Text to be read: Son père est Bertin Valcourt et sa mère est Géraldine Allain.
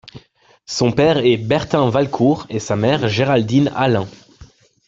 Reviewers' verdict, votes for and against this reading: accepted, 2, 0